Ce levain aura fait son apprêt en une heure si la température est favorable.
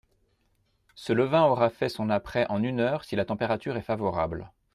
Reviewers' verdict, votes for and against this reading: accepted, 2, 0